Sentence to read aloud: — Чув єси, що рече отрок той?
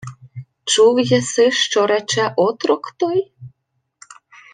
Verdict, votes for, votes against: accepted, 2, 0